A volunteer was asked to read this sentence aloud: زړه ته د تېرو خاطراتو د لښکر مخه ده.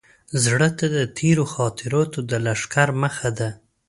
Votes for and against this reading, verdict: 2, 0, accepted